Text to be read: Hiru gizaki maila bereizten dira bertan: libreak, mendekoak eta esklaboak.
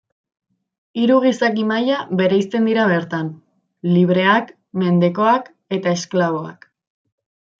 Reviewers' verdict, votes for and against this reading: accepted, 2, 0